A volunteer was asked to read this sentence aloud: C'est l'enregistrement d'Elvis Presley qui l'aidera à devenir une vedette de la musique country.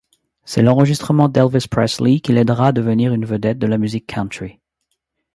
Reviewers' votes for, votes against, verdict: 2, 0, accepted